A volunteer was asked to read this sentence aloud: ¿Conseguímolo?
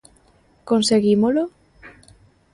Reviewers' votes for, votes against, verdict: 2, 0, accepted